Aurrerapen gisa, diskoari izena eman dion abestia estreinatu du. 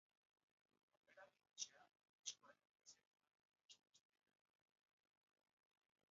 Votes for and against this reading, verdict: 0, 2, rejected